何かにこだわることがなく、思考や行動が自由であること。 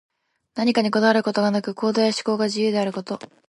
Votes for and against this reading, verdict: 0, 2, rejected